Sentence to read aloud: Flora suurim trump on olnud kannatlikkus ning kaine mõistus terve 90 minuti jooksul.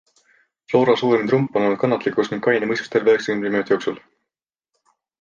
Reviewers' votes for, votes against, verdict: 0, 2, rejected